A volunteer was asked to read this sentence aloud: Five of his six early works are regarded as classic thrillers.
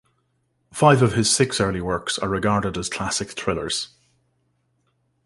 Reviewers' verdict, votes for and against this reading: accepted, 2, 0